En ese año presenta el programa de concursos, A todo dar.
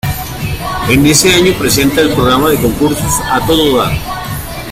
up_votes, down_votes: 2, 0